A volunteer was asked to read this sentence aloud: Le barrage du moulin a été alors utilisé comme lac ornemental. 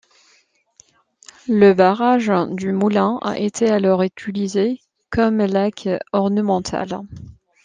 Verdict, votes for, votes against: accepted, 2, 1